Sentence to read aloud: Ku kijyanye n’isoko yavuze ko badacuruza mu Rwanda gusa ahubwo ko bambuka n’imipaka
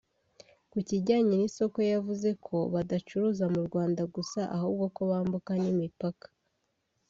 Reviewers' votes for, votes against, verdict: 2, 0, accepted